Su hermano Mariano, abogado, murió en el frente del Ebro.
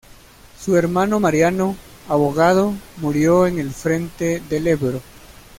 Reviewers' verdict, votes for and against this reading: accepted, 2, 0